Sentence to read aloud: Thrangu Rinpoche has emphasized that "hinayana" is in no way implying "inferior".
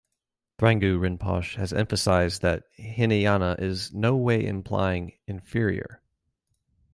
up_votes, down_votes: 1, 2